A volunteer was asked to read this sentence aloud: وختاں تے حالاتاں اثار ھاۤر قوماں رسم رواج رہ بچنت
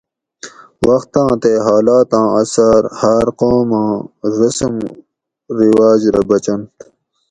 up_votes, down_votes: 4, 0